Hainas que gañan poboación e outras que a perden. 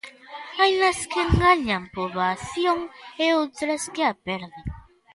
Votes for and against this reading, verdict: 2, 0, accepted